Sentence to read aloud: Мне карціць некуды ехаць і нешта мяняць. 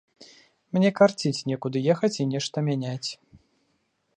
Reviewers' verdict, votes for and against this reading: accepted, 2, 0